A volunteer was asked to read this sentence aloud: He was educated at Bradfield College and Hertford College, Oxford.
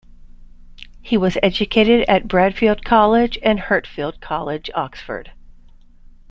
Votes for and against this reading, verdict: 0, 2, rejected